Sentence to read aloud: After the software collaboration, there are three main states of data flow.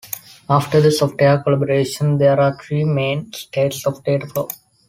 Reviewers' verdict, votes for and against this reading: accepted, 3, 0